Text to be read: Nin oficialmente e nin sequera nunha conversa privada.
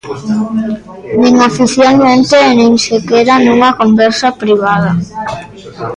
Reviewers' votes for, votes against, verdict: 1, 2, rejected